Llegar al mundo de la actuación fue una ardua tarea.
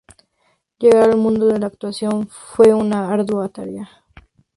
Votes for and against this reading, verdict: 0, 2, rejected